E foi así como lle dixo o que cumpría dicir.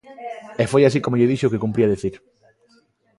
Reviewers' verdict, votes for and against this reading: rejected, 0, 3